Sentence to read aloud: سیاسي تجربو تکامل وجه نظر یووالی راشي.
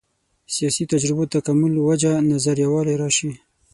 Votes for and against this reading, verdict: 6, 0, accepted